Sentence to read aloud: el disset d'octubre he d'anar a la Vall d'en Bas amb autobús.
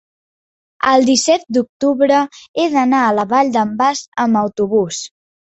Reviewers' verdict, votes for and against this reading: accepted, 5, 0